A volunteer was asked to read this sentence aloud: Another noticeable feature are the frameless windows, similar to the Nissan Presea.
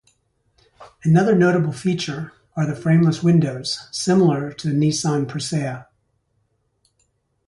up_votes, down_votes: 0, 4